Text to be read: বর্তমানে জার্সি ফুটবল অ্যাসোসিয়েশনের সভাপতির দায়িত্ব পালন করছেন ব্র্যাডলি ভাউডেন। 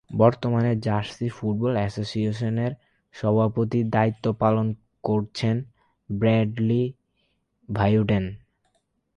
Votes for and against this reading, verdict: 4, 4, rejected